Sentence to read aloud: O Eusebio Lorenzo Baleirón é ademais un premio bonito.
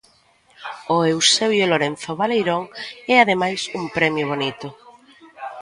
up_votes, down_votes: 1, 2